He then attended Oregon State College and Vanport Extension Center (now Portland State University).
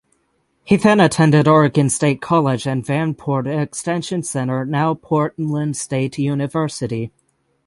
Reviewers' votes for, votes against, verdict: 3, 3, rejected